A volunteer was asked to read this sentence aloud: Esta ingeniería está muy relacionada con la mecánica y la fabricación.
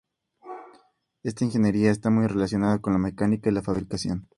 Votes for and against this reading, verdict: 2, 0, accepted